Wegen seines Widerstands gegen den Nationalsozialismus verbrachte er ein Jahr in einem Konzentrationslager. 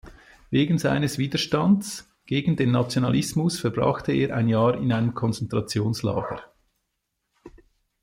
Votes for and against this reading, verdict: 1, 2, rejected